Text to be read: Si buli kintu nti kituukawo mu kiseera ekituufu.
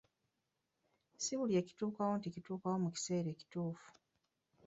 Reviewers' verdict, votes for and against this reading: rejected, 1, 2